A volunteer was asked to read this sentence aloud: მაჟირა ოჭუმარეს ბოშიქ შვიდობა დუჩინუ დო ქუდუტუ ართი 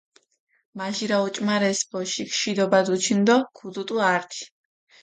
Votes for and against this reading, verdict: 2, 1, accepted